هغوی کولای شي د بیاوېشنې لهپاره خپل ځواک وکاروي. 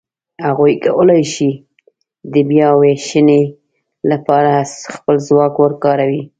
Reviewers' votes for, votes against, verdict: 2, 0, accepted